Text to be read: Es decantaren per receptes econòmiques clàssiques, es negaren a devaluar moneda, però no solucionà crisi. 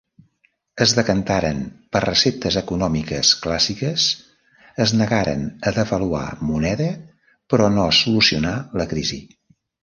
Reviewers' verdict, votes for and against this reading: rejected, 0, 2